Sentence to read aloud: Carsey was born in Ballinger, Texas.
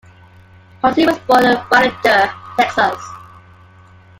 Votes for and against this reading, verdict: 1, 2, rejected